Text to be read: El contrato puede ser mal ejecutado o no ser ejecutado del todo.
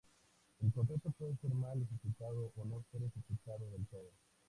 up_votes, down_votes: 0, 2